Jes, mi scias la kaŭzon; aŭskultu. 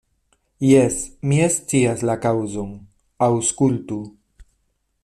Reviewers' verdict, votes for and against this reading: rejected, 1, 2